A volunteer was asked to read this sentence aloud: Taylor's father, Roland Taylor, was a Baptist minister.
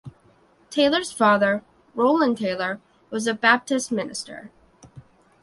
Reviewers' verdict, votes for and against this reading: accepted, 2, 0